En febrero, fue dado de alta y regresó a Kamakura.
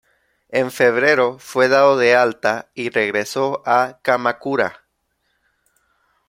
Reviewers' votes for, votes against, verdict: 2, 0, accepted